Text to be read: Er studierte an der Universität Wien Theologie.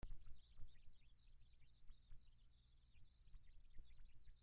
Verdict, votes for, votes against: rejected, 0, 2